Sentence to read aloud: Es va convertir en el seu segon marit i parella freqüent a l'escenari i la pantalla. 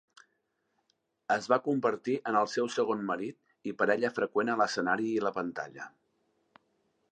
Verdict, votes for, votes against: accepted, 2, 0